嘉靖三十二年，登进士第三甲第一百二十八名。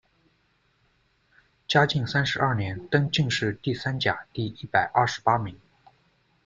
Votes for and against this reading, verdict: 2, 0, accepted